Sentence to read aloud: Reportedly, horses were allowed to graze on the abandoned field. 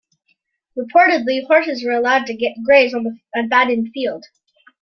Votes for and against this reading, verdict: 2, 1, accepted